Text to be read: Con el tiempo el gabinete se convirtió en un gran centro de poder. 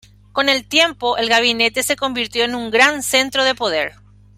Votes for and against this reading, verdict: 2, 0, accepted